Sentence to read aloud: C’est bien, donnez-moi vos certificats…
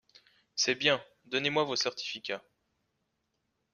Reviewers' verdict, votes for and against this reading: accepted, 2, 0